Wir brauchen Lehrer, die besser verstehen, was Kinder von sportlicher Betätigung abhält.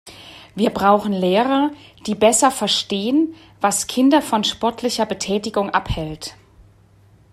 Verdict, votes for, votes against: rejected, 1, 2